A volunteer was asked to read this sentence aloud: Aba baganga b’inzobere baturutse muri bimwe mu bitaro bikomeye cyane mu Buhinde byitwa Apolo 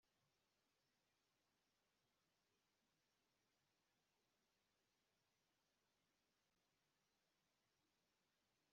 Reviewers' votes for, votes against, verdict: 1, 2, rejected